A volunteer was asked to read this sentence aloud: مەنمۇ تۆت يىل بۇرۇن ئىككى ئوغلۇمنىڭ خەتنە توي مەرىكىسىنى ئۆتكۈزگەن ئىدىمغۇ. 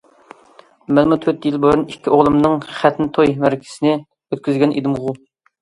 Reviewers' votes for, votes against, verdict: 2, 0, accepted